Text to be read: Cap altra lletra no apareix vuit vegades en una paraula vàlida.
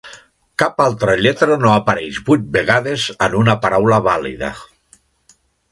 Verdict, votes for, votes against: accepted, 2, 0